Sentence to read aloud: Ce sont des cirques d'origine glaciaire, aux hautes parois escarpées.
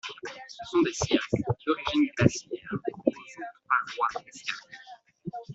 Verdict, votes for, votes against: rejected, 0, 2